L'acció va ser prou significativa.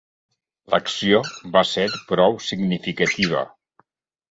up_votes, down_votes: 4, 2